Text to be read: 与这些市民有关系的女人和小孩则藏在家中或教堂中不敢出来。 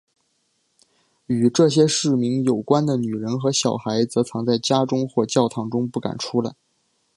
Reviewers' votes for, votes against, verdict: 2, 0, accepted